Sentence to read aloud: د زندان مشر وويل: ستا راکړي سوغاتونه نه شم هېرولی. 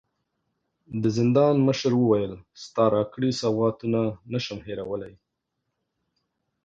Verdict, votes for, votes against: accepted, 2, 0